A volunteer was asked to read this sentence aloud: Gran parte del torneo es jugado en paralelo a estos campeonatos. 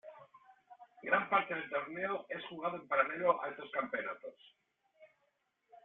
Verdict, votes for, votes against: accepted, 2, 0